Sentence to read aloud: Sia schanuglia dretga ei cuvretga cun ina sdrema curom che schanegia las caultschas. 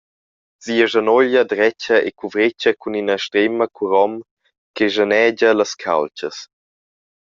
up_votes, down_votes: 0, 2